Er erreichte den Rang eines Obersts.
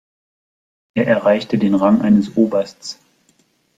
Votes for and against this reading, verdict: 2, 0, accepted